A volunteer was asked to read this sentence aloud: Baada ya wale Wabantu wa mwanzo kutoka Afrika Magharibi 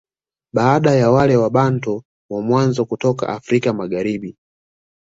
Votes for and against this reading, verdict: 2, 0, accepted